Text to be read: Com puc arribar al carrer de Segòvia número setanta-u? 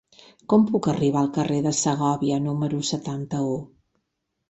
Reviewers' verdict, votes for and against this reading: accepted, 4, 0